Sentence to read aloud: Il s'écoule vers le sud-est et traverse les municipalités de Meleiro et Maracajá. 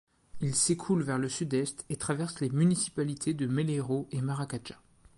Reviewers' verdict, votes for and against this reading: accepted, 2, 0